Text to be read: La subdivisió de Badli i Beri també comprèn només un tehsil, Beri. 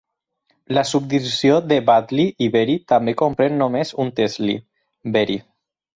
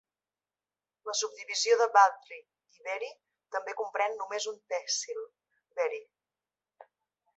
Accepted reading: second